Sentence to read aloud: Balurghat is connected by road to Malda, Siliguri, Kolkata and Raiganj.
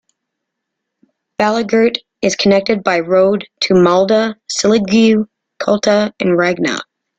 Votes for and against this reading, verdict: 0, 2, rejected